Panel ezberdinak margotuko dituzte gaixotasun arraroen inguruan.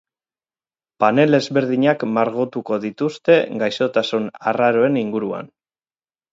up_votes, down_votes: 2, 2